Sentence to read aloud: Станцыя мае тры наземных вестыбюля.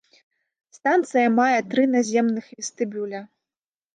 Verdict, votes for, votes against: accepted, 2, 0